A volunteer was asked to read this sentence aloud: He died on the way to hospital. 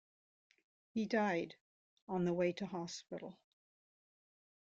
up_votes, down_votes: 2, 0